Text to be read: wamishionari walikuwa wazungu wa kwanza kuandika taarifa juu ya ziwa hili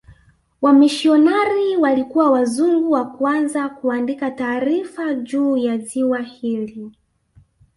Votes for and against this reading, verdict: 2, 1, accepted